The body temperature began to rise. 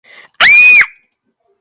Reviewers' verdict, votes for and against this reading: rejected, 0, 2